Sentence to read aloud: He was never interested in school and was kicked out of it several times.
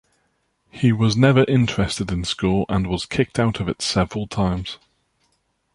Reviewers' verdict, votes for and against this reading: accepted, 2, 0